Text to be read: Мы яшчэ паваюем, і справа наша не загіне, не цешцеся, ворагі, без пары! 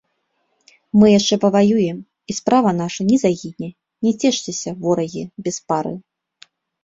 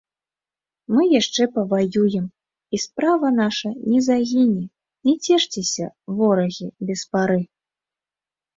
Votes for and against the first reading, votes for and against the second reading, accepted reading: 0, 2, 2, 0, second